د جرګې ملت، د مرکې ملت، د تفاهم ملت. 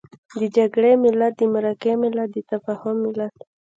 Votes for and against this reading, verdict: 0, 2, rejected